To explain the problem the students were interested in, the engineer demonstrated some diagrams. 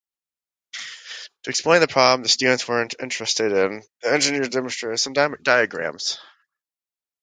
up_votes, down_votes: 0, 2